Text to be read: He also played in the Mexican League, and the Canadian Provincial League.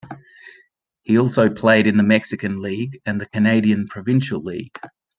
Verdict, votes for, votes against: accepted, 2, 0